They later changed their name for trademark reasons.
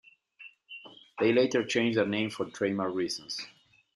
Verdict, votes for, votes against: rejected, 1, 2